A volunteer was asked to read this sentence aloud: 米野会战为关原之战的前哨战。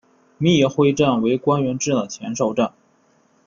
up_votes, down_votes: 1, 2